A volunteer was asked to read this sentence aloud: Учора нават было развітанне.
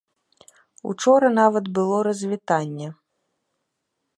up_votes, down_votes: 3, 0